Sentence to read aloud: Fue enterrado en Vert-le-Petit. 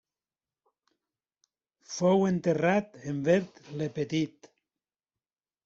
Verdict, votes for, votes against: rejected, 1, 2